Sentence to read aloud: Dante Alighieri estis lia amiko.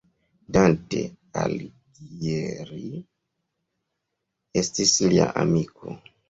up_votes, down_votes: 0, 2